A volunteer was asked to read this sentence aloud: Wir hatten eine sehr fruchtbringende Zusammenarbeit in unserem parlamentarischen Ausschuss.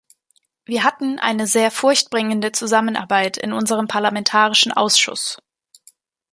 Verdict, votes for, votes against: rejected, 0, 2